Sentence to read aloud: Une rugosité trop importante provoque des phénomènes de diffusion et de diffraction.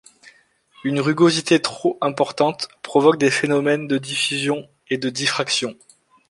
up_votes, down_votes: 2, 0